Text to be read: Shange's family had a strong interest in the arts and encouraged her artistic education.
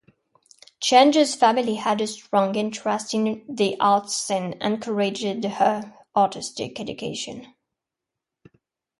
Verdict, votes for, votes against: accepted, 4, 3